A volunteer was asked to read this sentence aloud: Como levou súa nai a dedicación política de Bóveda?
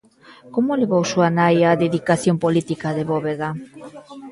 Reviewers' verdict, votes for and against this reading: rejected, 1, 2